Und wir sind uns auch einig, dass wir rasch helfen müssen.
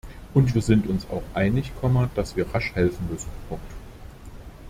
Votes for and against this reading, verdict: 0, 2, rejected